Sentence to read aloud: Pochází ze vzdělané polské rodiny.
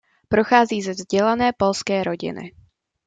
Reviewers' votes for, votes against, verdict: 0, 2, rejected